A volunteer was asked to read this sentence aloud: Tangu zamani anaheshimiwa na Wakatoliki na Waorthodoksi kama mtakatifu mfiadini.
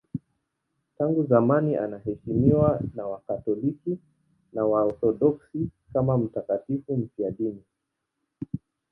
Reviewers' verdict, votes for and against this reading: accepted, 2, 0